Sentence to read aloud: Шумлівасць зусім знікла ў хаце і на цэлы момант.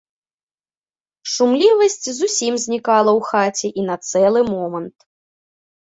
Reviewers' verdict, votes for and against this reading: rejected, 0, 2